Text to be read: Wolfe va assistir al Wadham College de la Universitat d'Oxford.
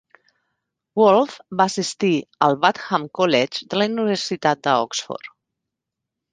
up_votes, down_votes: 1, 2